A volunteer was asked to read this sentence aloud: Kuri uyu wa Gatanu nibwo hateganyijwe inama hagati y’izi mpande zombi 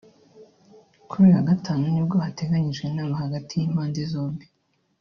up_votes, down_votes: 1, 2